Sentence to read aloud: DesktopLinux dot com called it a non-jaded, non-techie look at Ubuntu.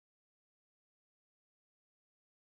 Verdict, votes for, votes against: rejected, 0, 2